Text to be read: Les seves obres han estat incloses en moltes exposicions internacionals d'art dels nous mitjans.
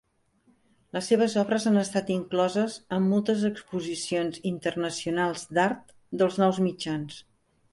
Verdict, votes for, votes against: accepted, 4, 0